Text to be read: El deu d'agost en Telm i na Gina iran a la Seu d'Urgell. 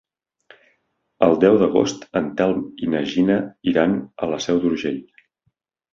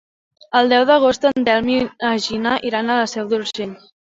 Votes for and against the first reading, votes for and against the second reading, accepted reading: 3, 0, 1, 2, first